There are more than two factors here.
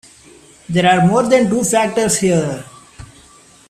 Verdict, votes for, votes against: rejected, 1, 2